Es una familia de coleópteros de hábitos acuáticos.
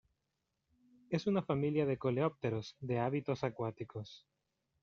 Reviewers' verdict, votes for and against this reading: rejected, 1, 2